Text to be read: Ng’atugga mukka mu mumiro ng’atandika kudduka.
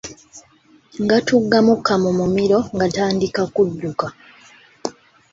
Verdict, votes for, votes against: accepted, 2, 0